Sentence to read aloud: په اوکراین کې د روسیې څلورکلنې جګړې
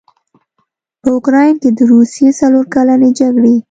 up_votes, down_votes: 2, 0